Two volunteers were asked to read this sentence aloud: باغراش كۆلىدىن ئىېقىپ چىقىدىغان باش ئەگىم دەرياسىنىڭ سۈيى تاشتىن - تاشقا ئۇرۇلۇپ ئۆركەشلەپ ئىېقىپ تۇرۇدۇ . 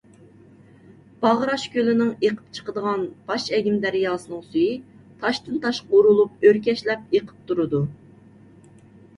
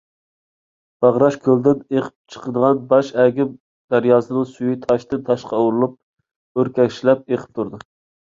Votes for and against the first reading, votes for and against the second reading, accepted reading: 0, 2, 2, 0, second